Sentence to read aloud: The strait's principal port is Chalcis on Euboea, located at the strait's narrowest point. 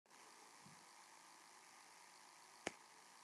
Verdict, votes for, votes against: rejected, 1, 2